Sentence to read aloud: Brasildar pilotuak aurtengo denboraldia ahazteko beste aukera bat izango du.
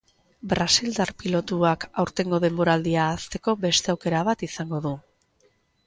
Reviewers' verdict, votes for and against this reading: accepted, 2, 0